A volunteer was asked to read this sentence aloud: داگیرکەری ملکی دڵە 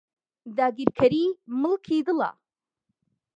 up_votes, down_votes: 2, 0